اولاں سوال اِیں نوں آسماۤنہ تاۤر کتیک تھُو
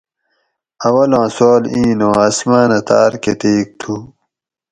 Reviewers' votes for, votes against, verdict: 4, 0, accepted